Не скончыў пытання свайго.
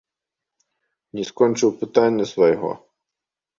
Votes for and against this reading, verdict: 2, 0, accepted